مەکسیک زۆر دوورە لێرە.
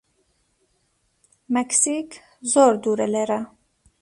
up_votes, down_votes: 2, 0